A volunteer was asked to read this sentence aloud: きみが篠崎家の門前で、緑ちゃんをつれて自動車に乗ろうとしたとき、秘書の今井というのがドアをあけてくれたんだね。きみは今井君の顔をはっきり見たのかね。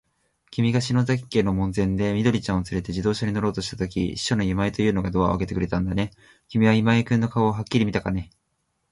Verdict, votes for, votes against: accepted, 2, 1